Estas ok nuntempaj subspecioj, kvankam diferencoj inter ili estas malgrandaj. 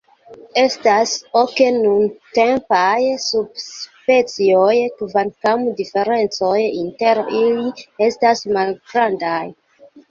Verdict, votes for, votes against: accepted, 2, 0